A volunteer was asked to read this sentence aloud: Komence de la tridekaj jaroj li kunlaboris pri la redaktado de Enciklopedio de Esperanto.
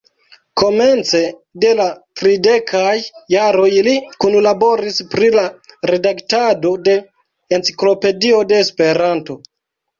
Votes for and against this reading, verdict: 2, 0, accepted